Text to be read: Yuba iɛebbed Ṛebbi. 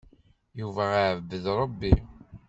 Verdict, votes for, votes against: accepted, 2, 0